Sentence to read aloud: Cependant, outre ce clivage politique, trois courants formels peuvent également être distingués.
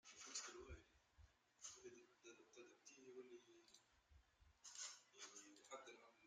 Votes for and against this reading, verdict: 0, 2, rejected